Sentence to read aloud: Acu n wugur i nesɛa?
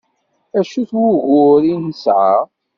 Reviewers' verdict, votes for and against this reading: rejected, 1, 2